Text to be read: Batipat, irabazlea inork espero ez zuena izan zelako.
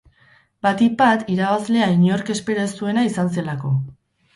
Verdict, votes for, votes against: rejected, 2, 2